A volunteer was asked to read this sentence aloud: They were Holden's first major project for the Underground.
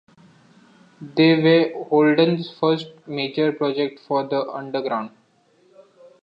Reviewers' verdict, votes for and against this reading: rejected, 0, 2